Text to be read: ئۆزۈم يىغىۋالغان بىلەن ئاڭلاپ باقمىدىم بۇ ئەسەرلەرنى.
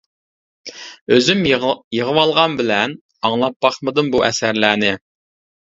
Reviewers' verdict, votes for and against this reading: rejected, 0, 2